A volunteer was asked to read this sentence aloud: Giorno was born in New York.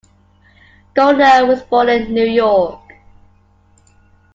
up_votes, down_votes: 2, 1